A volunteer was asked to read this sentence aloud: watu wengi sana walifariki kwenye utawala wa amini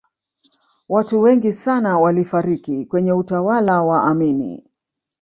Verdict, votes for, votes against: accepted, 2, 0